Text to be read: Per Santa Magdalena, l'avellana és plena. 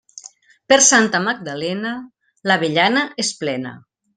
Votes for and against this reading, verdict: 2, 0, accepted